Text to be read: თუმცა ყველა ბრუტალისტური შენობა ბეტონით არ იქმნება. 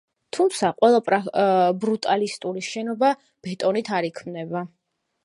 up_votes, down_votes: 1, 2